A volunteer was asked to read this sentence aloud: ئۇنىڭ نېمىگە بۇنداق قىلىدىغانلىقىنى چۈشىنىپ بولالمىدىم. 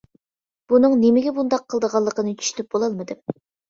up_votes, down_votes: 0, 2